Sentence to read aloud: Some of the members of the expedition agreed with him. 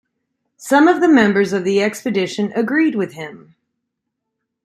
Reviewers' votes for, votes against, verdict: 2, 1, accepted